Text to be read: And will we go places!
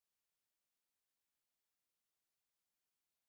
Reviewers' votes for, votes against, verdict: 0, 3, rejected